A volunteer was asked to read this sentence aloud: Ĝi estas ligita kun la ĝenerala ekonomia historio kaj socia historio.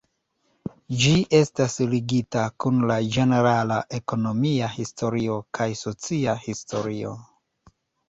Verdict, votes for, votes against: rejected, 1, 2